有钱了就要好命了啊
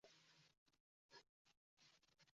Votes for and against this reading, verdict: 2, 3, rejected